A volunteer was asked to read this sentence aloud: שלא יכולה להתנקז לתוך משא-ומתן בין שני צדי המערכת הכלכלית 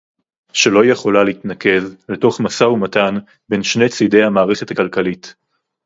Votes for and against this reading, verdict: 2, 2, rejected